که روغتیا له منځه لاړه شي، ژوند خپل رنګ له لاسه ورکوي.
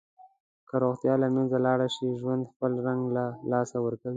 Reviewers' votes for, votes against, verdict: 2, 0, accepted